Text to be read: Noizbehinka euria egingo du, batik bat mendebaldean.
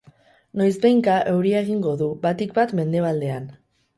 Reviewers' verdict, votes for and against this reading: rejected, 2, 2